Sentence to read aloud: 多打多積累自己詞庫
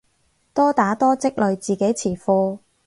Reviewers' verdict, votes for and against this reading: accepted, 4, 0